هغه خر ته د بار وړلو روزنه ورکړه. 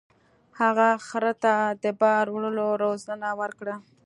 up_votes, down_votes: 3, 0